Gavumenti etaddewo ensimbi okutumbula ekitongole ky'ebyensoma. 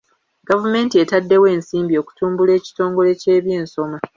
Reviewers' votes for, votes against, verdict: 2, 0, accepted